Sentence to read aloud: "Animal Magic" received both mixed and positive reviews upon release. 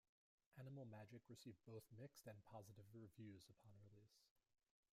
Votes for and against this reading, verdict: 1, 2, rejected